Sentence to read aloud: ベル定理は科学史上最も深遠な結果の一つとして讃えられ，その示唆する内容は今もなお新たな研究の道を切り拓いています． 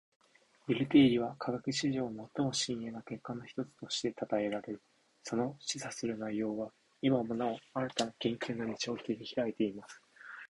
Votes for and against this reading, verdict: 2, 1, accepted